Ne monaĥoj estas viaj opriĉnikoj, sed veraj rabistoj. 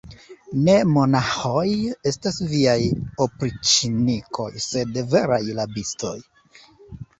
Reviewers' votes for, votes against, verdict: 2, 1, accepted